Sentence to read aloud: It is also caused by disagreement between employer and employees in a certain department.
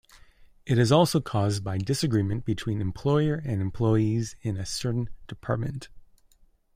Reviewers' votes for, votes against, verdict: 2, 0, accepted